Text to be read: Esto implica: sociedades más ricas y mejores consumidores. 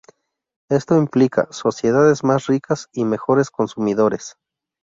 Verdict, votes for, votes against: accepted, 4, 0